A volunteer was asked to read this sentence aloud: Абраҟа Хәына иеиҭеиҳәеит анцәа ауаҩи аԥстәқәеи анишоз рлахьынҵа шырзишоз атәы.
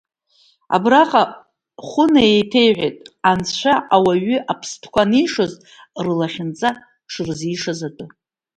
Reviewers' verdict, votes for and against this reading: rejected, 1, 2